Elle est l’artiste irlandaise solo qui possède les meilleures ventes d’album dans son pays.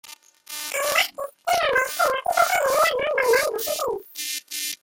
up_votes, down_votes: 0, 2